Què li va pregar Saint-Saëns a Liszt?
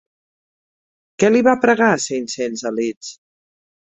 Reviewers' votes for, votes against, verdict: 2, 0, accepted